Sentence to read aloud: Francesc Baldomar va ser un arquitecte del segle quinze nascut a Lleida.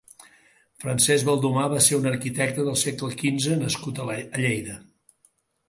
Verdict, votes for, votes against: rejected, 0, 3